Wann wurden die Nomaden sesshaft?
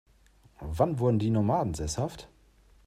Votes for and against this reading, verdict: 2, 0, accepted